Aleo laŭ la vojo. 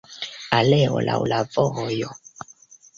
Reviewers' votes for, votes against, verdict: 0, 2, rejected